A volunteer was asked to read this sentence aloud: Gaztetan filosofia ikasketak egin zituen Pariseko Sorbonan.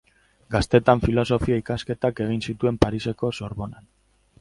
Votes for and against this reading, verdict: 0, 2, rejected